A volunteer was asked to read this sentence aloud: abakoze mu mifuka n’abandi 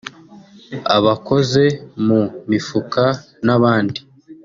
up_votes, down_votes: 2, 0